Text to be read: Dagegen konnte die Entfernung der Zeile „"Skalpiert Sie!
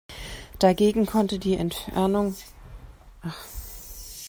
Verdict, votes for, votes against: rejected, 0, 2